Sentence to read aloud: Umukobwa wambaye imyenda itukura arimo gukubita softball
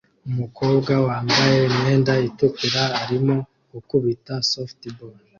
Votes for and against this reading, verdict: 2, 0, accepted